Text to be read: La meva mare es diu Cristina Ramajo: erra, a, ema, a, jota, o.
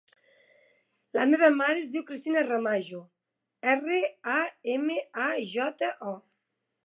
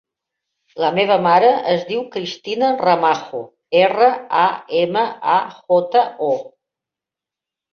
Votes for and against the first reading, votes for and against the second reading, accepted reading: 3, 0, 0, 2, first